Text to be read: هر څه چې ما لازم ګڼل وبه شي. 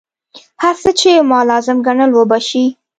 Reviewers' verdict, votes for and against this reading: accepted, 2, 0